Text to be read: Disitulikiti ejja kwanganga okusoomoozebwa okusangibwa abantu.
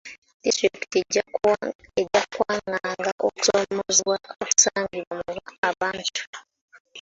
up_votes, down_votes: 0, 2